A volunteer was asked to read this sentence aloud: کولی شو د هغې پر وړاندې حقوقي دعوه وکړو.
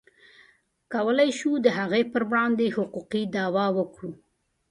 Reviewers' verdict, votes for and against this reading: accepted, 2, 0